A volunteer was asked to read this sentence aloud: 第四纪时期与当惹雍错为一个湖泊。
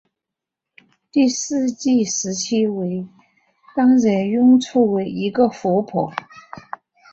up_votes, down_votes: 7, 1